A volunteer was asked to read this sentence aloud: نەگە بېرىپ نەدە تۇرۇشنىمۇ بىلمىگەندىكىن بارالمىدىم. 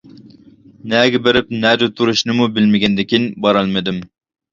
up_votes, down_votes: 2, 0